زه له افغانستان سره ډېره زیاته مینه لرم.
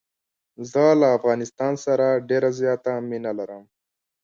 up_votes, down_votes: 2, 0